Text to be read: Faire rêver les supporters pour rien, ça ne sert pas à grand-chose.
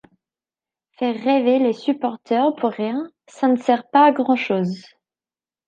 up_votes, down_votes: 2, 0